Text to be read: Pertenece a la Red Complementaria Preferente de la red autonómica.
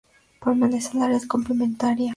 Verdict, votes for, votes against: rejected, 0, 2